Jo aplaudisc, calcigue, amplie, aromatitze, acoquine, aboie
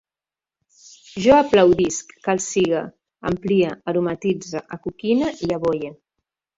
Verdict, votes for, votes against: rejected, 1, 2